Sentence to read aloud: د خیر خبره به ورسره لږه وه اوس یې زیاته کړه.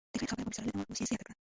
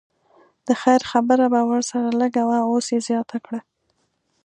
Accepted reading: second